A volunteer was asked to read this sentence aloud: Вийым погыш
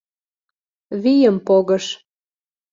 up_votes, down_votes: 2, 0